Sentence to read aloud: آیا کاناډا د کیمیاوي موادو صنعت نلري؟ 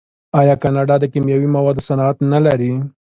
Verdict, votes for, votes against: accepted, 2, 0